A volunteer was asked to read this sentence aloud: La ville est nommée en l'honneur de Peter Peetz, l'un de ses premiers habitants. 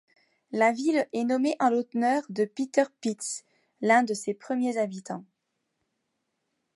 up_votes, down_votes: 1, 2